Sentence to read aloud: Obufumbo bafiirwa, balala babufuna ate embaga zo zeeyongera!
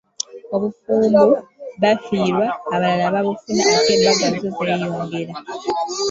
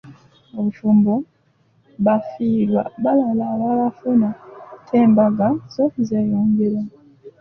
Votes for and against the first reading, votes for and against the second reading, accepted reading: 3, 1, 0, 2, first